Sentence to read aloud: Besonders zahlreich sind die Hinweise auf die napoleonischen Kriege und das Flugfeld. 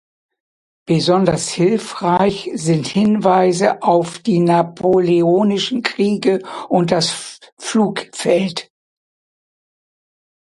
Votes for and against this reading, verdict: 0, 2, rejected